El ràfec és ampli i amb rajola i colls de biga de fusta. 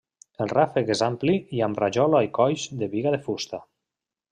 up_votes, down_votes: 2, 0